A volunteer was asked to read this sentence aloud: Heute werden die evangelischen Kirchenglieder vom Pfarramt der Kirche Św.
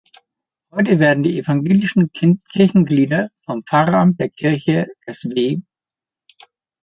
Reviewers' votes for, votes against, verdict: 0, 2, rejected